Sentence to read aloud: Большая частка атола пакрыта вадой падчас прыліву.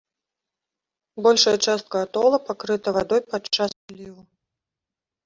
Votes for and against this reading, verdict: 0, 2, rejected